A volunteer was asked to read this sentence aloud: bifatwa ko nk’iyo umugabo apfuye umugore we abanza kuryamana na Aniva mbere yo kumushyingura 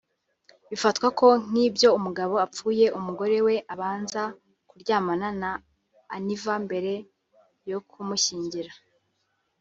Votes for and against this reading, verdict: 1, 3, rejected